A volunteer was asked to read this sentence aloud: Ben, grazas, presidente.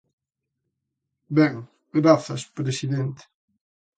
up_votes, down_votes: 2, 0